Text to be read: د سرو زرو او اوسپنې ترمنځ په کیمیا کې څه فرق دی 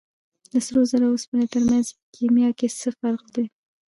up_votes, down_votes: 0, 2